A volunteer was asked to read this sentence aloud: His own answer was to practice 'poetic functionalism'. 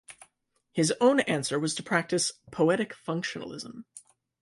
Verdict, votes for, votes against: accepted, 2, 0